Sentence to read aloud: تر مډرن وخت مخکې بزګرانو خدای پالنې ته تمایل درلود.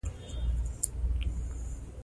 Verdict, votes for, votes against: rejected, 0, 2